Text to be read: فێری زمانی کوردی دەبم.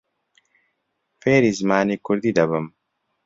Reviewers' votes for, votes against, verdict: 2, 0, accepted